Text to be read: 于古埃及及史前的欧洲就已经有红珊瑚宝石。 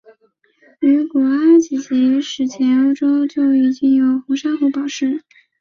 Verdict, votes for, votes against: accepted, 7, 0